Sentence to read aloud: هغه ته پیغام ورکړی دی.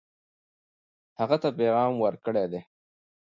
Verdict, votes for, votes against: accepted, 2, 0